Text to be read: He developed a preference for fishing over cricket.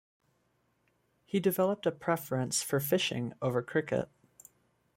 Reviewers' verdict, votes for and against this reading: accepted, 2, 0